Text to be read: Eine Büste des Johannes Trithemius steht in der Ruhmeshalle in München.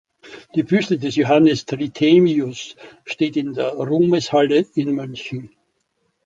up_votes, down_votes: 0, 2